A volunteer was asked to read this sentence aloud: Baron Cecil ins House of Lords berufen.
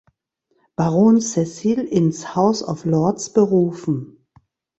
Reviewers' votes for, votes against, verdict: 2, 0, accepted